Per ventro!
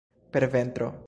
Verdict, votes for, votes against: rejected, 0, 2